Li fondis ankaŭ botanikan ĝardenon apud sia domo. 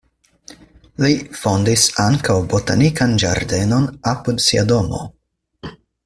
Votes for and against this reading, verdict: 4, 0, accepted